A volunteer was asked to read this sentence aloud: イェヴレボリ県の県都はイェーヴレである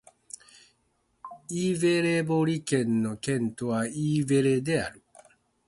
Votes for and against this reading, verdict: 2, 0, accepted